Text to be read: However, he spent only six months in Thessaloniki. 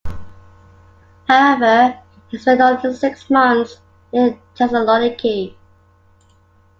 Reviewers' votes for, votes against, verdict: 2, 0, accepted